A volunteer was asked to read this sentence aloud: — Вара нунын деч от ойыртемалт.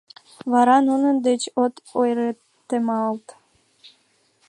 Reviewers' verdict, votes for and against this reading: accepted, 2, 0